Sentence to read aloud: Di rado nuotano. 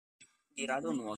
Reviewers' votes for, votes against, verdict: 0, 2, rejected